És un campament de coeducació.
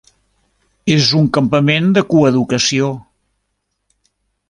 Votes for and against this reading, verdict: 3, 0, accepted